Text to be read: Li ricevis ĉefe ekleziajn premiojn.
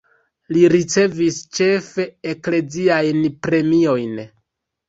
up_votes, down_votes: 3, 2